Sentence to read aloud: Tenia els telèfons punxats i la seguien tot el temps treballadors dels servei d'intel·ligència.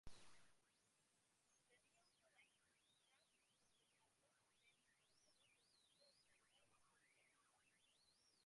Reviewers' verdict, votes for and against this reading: rejected, 0, 3